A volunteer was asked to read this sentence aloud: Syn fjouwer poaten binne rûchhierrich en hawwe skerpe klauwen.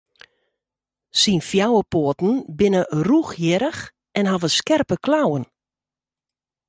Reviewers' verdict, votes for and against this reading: accepted, 2, 0